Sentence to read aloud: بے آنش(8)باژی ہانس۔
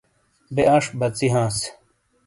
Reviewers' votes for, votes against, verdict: 0, 2, rejected